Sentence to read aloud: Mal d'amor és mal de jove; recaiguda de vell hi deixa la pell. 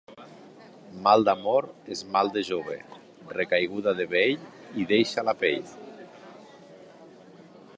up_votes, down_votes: 3, 0